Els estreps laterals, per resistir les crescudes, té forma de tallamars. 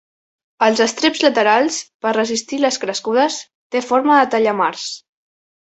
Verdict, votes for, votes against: accepted, 2, 0